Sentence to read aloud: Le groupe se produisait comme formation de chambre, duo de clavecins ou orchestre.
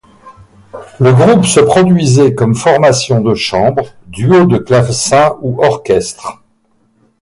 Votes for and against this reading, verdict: 4, 0, accepted